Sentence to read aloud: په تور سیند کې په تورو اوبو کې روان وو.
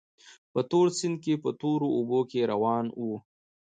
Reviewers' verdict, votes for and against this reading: rejected, 1, 2